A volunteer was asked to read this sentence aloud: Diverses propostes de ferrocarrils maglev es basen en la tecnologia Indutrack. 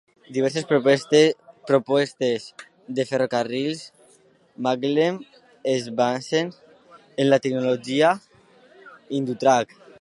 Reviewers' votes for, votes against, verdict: 0, 2, rejected